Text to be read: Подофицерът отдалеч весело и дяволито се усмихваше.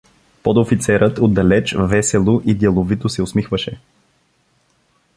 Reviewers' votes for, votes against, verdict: 1, 2, rejected